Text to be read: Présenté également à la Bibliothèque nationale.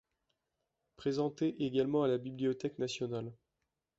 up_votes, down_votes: 2, 0